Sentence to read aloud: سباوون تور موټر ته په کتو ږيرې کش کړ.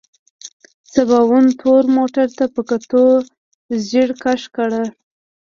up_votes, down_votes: 2, 0